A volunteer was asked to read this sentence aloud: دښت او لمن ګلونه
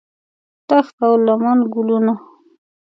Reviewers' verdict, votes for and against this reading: accepted, 2, 0